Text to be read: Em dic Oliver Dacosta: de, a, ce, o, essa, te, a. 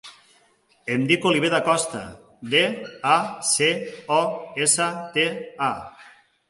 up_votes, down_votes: 2, 0